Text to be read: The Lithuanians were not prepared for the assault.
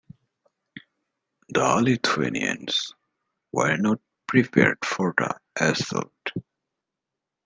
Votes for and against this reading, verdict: 1, 2, rejected